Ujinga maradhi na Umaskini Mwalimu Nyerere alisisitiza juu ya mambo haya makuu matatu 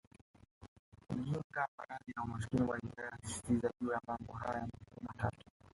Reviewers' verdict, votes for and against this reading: rejected, 1, 2